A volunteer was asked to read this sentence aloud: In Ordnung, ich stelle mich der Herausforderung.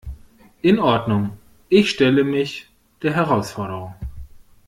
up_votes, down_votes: 2, 0